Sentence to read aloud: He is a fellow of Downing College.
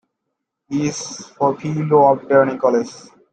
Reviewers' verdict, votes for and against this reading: rejected, 0, 2